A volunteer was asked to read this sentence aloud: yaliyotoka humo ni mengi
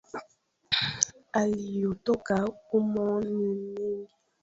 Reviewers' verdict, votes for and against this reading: rejected, 1, 2